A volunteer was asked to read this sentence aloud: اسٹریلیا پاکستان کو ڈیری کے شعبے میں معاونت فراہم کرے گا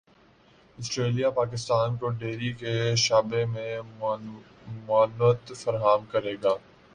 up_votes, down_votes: 0, 2